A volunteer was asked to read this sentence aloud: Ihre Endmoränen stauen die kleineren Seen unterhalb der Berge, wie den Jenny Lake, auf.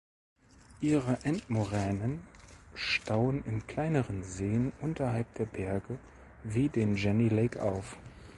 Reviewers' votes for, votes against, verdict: 0, 3, rejected